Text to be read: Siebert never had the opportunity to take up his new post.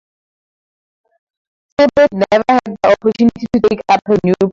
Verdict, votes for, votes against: rejected, 0, 2